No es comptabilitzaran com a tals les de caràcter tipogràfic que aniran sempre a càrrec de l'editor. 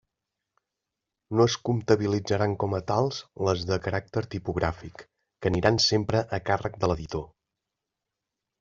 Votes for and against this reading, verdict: 3, 0, accepted